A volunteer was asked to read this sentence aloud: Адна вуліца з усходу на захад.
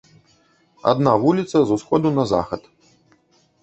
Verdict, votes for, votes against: accepted, 2, 0